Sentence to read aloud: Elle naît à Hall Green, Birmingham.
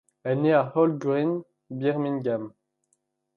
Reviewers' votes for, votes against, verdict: 2, 0, accepted